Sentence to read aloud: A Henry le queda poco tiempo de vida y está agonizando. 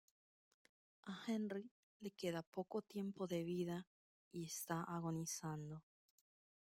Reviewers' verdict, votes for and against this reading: accepted, 2, 0